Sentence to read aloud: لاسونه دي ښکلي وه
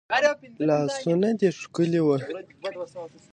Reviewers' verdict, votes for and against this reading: accepted, 2, 0